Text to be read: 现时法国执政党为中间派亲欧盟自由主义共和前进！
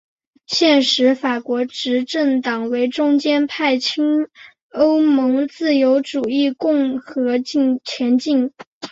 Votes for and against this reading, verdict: 3, 0, accepted